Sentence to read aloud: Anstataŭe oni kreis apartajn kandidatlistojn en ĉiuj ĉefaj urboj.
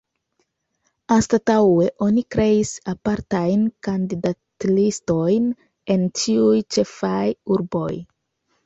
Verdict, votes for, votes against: rejected, 0, 2